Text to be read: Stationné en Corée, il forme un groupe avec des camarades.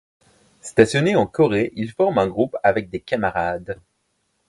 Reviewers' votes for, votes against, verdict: 2, 0, accepted